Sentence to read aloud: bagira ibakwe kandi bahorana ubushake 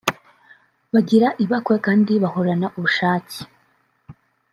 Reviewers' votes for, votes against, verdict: 1, 2, rejected